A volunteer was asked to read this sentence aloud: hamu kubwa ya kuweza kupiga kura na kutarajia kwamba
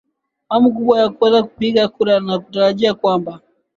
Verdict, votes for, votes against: accepted, 2, 0